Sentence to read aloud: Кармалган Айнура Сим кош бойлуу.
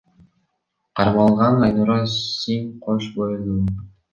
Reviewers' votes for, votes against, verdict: 1, 2, rejected